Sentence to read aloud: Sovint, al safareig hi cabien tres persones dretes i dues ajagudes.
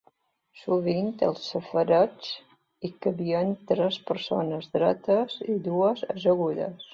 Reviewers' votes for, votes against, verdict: 2, 0, accepted